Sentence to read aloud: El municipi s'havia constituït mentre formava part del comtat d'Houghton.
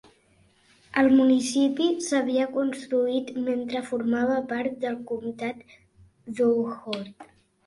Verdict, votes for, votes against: accepted, 2, 1